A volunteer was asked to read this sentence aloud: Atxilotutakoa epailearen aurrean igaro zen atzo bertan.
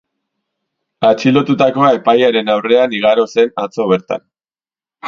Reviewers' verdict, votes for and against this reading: accepted, 2, 0